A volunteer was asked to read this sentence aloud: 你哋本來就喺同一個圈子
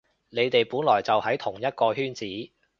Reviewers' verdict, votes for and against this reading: accepted, 2, 0